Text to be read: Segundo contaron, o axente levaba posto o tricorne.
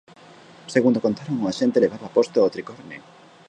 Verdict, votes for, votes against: rejected, 0, 2